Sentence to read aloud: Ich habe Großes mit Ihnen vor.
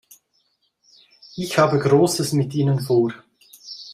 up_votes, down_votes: 2, 0